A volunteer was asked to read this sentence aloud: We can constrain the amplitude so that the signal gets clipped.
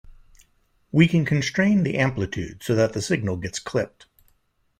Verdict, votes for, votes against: accepted, 2, 0